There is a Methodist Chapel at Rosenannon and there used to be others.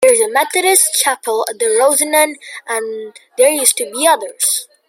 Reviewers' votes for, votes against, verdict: 0, 2, rejected